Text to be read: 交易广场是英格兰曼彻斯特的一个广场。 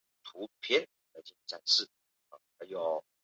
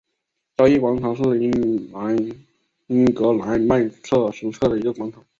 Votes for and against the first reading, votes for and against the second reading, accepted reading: 0, 4, 2, 1, second